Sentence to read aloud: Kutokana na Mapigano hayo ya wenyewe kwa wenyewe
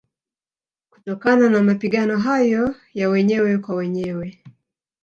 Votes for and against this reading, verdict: 1, 2, rejected